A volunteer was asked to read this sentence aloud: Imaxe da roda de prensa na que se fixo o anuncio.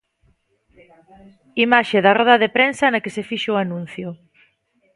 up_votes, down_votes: 2, 0